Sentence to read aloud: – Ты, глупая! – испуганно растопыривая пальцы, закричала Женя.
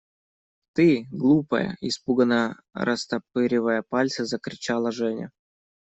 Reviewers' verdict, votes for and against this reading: rejected, 1, 2